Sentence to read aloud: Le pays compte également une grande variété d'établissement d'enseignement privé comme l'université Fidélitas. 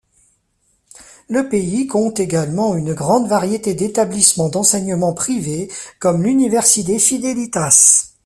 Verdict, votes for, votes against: rejected, 1, 2